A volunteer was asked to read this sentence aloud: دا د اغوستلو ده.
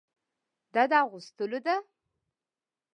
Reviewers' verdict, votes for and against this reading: accepted, 3, 0